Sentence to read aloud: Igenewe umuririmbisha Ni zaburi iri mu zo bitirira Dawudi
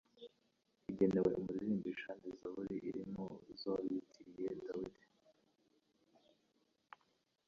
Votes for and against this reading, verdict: 0, 2, rejected